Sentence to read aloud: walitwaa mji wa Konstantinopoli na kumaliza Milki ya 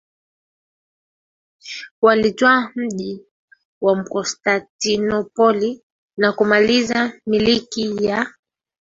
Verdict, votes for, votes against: accepted, 2, 1